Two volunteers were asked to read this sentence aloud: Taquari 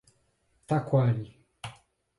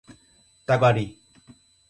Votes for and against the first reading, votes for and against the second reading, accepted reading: 2, 2, 4, 2, second